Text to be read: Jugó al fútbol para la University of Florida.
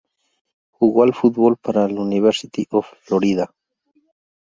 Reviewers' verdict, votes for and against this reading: rejected, 0, 2